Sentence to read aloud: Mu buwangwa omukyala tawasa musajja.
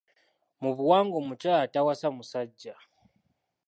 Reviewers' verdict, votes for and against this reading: accepted, 2, 0